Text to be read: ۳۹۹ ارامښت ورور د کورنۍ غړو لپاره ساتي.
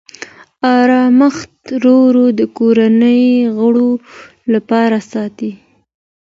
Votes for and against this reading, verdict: 0, 2, rejected